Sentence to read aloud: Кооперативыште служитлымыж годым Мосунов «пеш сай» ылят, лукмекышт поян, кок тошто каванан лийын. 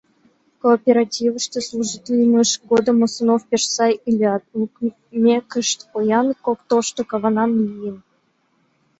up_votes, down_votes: 1, 2